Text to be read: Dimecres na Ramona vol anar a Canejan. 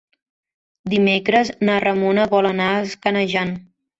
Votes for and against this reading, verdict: 0, 2, rejected